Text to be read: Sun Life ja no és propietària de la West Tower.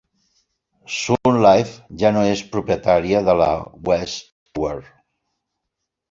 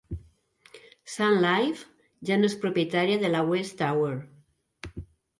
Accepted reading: second